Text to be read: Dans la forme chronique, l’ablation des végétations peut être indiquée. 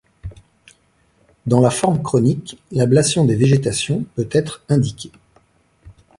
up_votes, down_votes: 2, 0